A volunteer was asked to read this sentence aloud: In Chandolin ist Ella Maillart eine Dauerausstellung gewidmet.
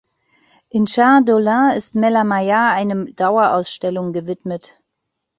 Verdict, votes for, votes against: rejected, 1, 2